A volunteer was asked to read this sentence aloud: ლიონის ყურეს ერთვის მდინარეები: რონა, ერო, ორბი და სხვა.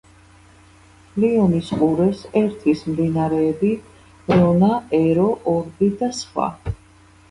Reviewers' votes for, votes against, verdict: 2, 1, accepted